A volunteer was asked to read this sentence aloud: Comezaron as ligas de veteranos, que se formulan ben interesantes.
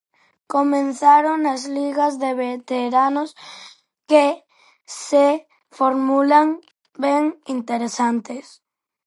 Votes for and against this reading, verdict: 0, 4, rejected